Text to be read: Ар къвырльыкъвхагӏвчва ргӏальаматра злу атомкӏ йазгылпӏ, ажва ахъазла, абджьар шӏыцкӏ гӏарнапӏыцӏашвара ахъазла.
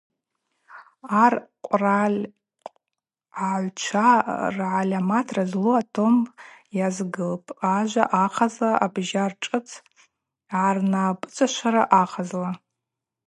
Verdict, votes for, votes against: rejected, 0, 2